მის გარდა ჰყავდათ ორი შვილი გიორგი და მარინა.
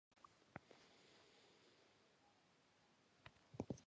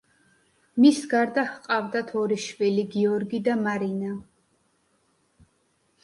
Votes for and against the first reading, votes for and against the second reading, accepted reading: 0, 2, 2, 0, second